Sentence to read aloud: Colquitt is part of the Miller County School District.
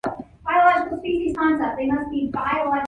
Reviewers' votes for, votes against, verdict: 1, 2, rejected